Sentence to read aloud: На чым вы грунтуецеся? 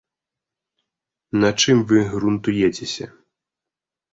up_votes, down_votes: 1, 2